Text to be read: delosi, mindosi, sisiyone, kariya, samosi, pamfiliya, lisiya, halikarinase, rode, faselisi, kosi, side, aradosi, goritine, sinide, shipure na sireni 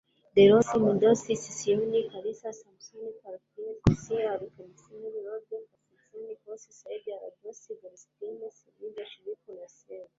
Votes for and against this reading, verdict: 1, 2, rejected